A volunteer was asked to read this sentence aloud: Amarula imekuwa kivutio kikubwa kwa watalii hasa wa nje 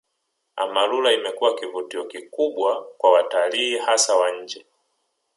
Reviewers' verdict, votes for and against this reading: rejected, 1, 2